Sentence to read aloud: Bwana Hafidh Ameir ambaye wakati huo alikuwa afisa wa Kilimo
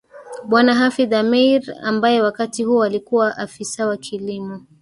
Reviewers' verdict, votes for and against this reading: rejected, 1, 2